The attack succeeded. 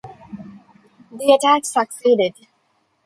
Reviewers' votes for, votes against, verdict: 1, 2, rejected